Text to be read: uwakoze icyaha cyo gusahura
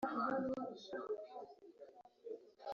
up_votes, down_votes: 0, 2